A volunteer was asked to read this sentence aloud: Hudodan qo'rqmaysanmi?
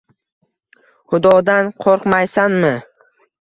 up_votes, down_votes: 2, 0